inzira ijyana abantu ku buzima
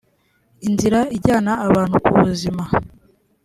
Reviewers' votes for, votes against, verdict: 2, 0, accepted